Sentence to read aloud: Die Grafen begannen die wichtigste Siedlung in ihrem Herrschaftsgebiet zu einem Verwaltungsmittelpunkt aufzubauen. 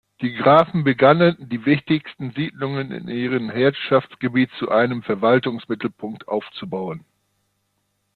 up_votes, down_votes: 0, 2